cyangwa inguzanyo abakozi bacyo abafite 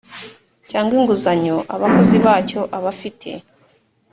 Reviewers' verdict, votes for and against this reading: accepted, 2, 0